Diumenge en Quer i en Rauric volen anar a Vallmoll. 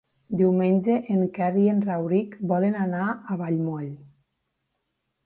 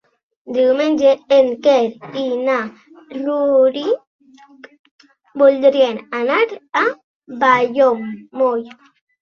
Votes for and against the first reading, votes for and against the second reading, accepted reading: 3, 0, 2, 3, first